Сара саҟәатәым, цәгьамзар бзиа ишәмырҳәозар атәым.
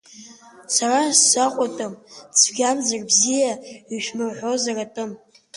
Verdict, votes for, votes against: rejected, 1, 2